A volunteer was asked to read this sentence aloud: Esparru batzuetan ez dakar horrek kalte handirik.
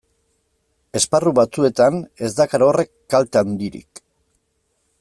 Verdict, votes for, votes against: accepted, 2, 0